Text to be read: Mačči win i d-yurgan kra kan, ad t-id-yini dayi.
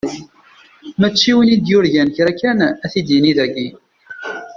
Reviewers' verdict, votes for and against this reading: rejected, 0, 2